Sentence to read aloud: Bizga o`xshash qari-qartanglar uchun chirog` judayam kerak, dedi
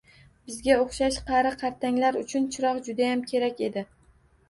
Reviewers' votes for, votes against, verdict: 1, 2, rejected